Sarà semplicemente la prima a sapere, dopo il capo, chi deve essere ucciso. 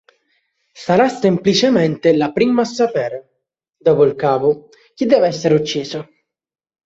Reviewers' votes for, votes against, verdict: 3, 1, accepted